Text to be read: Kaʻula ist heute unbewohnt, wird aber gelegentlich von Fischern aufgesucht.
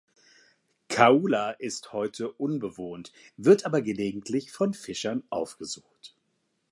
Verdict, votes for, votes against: accepted, 2, 0